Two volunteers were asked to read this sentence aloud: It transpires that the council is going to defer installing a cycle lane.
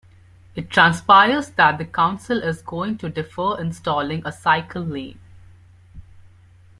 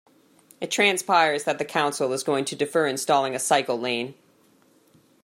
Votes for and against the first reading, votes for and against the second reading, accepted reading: 1, 2, 2, 0, second